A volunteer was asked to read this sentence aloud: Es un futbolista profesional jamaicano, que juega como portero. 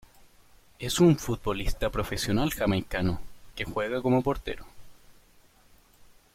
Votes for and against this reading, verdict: 2, 0, accepted